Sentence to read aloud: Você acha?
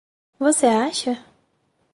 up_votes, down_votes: 4, 0